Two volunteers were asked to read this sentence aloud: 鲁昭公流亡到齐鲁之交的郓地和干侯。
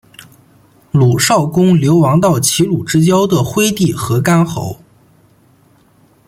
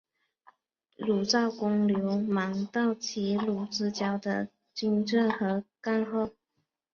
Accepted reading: first